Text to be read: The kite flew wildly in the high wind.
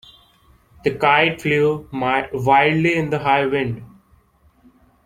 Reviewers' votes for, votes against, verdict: 0, 2, rejected